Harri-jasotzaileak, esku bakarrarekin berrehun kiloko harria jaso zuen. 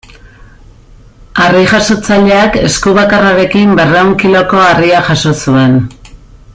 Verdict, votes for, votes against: accepted, 2, 0